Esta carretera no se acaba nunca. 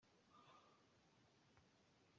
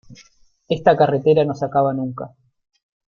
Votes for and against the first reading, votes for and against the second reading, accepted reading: 0, 2, 2, 0, second